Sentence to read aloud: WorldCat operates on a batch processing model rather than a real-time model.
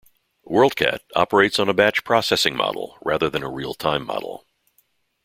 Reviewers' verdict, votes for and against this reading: accepted, 2, 0